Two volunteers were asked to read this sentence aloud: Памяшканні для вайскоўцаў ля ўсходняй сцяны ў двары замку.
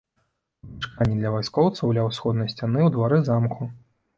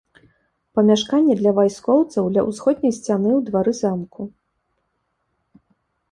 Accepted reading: second